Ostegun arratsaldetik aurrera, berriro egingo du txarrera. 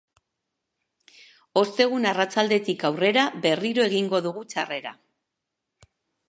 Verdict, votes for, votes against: accepted, 2, 1